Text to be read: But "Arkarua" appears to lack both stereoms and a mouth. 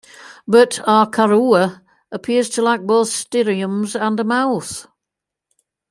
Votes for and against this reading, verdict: 2, 0, accepted